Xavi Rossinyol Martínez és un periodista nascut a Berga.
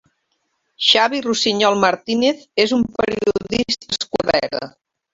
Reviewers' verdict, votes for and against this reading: rejected, 0, 2